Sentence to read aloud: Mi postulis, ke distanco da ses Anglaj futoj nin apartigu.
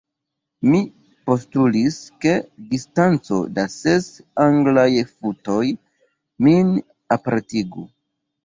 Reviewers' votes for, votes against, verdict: 2, 1, accepted